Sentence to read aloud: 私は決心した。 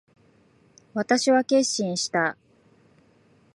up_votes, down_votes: 2, 0